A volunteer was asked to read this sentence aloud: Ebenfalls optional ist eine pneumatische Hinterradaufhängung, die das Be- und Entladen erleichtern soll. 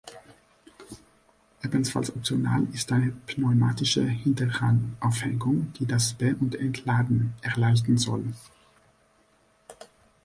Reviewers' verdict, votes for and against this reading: rejected, 0, 2